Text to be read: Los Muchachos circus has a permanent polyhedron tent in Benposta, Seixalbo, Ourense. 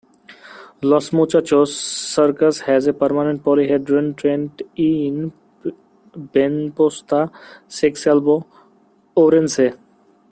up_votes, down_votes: 0, 2